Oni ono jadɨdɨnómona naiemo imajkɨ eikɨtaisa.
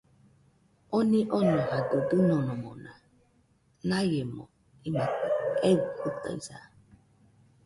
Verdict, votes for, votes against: accepted, 2, 1